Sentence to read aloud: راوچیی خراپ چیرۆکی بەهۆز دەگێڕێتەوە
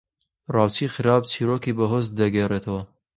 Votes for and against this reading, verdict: 3, 0, accepted